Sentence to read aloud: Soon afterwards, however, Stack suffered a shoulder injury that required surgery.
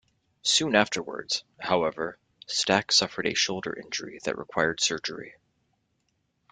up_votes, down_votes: 2, 0